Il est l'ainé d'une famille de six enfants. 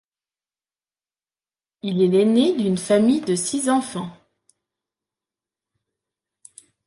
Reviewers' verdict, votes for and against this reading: accepted, 2, 0